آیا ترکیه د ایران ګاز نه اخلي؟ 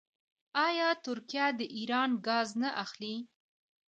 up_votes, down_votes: 1, 2